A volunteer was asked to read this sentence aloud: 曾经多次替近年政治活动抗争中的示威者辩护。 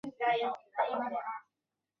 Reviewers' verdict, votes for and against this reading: rejected, 1, 2